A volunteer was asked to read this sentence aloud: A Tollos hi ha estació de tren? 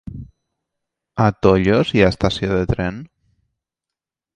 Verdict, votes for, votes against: accepted, 2, 0